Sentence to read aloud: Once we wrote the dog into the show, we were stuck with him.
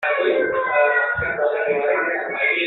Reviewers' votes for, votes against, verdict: 0, 2, rejected